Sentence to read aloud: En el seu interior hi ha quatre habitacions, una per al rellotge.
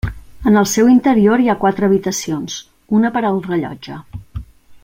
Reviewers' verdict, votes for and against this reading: accepted, 3, 0